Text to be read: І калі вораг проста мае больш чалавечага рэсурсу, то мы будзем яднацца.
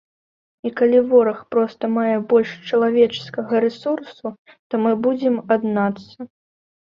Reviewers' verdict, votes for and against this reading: rejected, 0, 2